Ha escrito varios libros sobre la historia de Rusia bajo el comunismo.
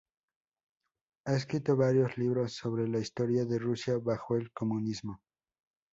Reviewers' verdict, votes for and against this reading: accepted, 2, 0